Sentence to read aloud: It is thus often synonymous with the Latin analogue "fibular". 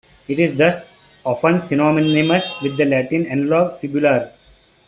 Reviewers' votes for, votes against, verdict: 1, 2, rejected